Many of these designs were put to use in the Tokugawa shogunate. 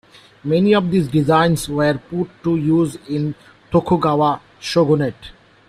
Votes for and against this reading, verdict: 1, 2, rejected